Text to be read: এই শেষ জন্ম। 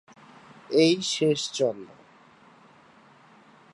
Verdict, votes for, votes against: rejected, 0, 2